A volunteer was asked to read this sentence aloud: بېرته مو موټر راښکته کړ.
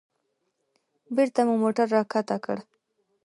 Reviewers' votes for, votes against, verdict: 2, 0, accepted